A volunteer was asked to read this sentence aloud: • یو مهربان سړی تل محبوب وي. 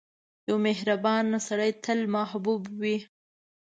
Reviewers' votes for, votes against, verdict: 2, 0, accepted